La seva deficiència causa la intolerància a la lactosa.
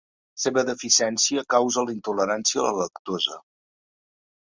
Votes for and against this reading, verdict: 1, 2, rejected